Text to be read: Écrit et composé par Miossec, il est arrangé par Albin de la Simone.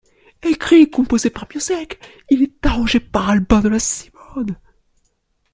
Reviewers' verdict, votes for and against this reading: rejected, 0, 2